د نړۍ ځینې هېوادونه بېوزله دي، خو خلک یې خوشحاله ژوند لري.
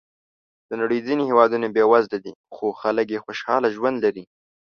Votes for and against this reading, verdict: 2, 0, accepted